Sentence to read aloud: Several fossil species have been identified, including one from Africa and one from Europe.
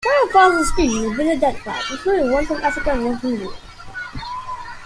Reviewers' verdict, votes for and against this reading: rejected, 1, 2